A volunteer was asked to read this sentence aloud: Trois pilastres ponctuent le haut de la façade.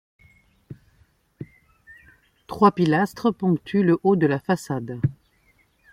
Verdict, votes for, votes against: accepted, 2, 0